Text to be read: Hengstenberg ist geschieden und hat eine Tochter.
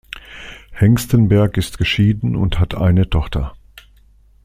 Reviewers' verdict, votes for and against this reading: accepted, 2, 0